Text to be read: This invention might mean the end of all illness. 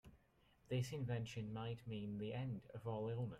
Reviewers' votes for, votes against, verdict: 0, 2, rejected